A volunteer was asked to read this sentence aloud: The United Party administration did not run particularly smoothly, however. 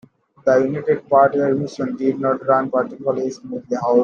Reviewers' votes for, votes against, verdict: 1, 2, rejected